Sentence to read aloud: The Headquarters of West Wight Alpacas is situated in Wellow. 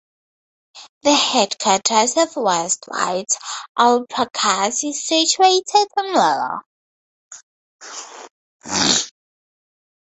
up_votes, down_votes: 0, 4